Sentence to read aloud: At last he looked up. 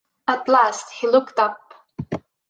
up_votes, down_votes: 2, 0